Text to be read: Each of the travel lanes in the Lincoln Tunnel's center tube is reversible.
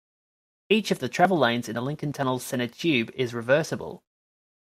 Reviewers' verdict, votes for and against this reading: accepted, 2, 0